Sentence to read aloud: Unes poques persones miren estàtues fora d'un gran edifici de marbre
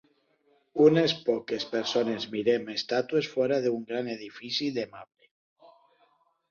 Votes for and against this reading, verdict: 0, 2, rejected